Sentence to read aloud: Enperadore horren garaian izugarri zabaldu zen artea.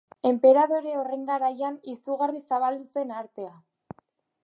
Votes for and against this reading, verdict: 3, 0, accepted